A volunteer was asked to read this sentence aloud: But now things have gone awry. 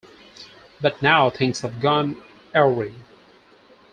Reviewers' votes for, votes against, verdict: 0, 4, rejected